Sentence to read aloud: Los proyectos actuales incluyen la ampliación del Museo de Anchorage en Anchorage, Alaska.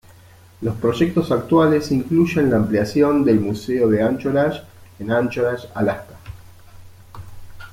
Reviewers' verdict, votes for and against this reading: accepted, 2, 0